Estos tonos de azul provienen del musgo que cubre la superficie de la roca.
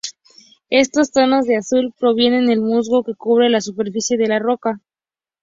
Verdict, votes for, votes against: accepted, 4, 0